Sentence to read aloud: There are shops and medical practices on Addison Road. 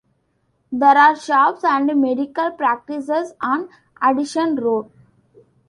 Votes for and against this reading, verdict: 2, 1, accepted